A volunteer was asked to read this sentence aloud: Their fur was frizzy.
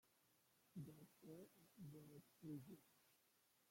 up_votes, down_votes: 0, 2